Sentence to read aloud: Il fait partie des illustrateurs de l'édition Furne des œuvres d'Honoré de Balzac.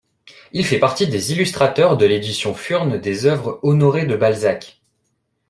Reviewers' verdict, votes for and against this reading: rejected, 1, 2